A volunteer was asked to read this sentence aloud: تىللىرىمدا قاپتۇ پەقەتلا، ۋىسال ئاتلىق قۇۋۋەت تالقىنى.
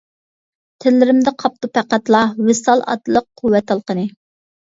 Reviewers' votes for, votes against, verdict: 2, 0, accepted